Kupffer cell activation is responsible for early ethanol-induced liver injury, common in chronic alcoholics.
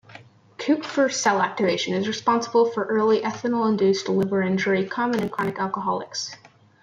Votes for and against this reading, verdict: 2, 1, accepted